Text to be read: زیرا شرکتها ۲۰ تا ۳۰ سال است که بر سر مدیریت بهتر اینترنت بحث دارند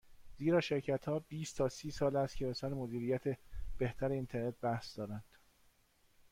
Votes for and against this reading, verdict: 0, 2, rejected